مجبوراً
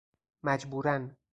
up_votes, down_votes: 2, 0